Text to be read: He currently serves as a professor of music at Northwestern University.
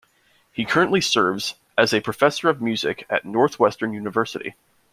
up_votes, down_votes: 2, 0